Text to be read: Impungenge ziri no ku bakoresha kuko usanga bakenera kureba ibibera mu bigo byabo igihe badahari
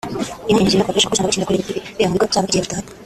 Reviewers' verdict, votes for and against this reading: rejected, 0, 2